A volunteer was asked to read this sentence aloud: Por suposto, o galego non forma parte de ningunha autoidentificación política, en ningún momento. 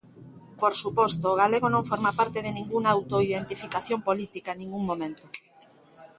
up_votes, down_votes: 2, 1